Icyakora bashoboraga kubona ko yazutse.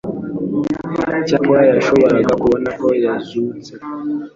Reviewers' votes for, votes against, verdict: 2, 0, accepted